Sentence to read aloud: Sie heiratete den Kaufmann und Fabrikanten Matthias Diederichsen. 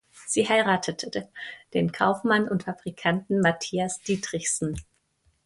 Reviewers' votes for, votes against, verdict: 0, 2, rejected